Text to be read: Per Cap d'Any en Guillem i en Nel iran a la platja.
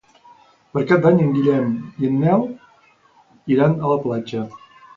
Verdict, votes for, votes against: accepted, 2, 0